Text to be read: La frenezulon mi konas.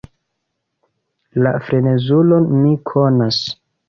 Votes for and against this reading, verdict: 2, 0, accepted